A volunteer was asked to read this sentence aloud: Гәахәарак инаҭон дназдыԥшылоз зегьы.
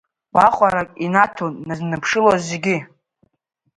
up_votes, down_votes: 2, 1